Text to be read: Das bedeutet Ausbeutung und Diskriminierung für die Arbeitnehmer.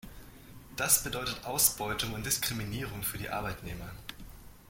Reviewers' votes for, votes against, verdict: 2, 0, accepted